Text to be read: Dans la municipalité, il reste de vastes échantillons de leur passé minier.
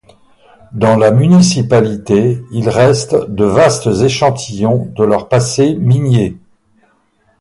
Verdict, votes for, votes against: accepted, 4, 0